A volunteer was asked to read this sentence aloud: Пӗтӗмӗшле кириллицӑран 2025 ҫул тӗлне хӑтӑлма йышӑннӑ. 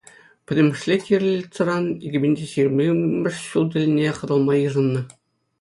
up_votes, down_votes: 0, 2